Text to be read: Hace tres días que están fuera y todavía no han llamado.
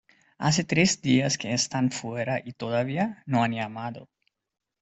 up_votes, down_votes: 2, 0